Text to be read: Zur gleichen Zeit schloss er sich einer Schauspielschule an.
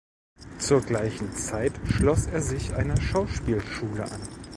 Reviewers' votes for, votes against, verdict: 3, 0, accepted